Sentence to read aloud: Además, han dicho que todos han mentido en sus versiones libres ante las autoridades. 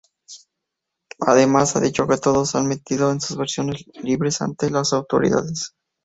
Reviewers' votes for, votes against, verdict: 0, 4, rejected